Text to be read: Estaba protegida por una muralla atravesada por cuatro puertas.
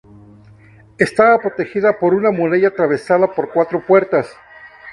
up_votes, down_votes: 2, 0